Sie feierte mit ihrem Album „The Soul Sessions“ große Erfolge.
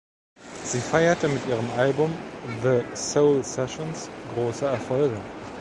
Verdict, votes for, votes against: rejected, 1, 2